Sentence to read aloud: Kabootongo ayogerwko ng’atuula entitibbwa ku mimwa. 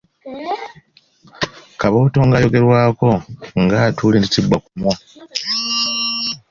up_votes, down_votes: 0, 2